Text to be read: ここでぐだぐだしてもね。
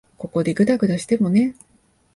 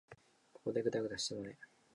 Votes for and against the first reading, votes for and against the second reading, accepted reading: 2, 0, 1, 2, first